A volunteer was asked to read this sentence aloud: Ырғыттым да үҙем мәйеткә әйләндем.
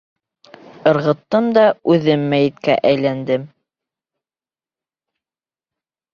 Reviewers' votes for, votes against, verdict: 2, 0, accepted